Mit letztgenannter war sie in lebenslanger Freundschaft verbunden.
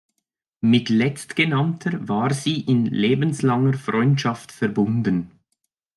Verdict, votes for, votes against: accepted, 2, 0